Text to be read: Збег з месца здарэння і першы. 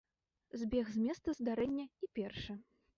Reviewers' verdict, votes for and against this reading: rejected, 1, 2